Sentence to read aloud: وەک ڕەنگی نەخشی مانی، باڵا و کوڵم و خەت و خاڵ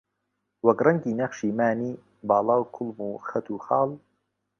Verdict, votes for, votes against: accepted, 2, 0